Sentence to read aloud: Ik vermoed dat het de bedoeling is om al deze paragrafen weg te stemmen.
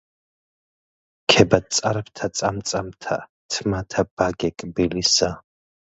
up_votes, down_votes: 0, 2